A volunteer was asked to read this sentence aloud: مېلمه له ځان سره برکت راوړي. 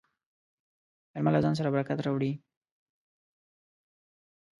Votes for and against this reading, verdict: 2, 0, accepted